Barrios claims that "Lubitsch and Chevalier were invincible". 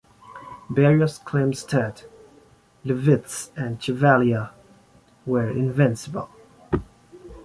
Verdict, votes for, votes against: accepted, 2, 1